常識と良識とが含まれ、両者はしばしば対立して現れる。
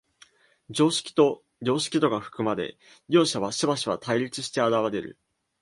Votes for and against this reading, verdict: 2, 1, accepted